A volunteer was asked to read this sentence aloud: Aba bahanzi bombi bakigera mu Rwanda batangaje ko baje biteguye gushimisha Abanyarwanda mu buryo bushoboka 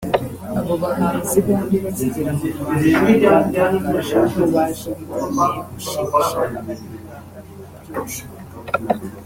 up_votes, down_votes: 0, 3